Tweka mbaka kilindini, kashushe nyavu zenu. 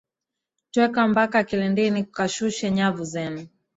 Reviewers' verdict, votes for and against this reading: rejected, 0, 2